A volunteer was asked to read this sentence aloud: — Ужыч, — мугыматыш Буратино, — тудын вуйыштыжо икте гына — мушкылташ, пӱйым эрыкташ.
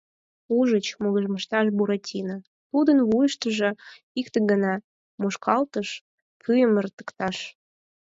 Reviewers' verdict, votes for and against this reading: rejected, 0, 4